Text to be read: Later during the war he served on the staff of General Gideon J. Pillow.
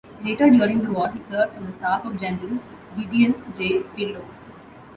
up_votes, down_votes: 1, 2